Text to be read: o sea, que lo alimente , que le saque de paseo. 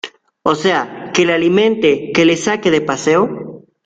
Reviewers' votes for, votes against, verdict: 1, 2, rejected